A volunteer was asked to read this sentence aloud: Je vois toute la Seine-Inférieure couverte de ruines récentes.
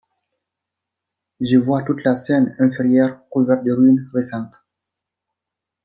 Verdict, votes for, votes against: accepted, 2, 1